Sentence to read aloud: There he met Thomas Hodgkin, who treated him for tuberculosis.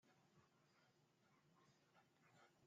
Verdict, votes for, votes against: rejected, 0, 2